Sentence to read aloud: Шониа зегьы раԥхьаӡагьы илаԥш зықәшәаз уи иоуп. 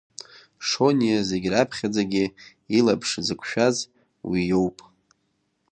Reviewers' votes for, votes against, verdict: 2, 1, accepted